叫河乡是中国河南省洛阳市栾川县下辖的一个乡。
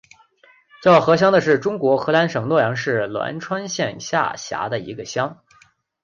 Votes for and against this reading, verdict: 5, 1, accepted